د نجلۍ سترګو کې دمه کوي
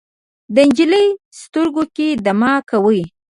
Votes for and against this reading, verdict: 1, 2, rejected